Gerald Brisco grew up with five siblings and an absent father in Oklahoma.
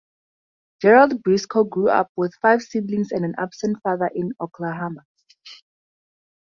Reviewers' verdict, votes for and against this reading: rejected, 0, 2